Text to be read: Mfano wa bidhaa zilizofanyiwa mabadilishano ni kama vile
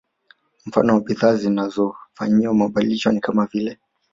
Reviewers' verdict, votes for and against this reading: accepted, 2, 0